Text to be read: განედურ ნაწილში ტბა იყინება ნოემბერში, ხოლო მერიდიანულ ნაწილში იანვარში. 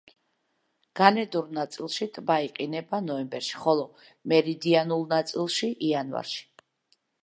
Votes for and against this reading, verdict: 2, 0, accepted